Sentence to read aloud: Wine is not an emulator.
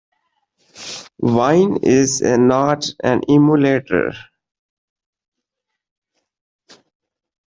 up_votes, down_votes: 1, 2